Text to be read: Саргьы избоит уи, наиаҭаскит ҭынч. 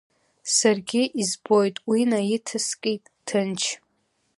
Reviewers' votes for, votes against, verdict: 1, 2, rejected